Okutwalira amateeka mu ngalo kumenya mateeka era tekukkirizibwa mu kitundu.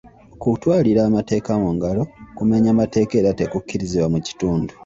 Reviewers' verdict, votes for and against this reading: accepted, 2, 0